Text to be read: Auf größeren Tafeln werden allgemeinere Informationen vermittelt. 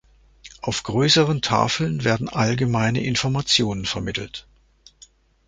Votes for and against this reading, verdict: 0, 2, rejected